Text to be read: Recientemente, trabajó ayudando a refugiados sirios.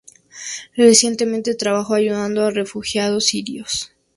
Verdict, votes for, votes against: accepted, 2, 0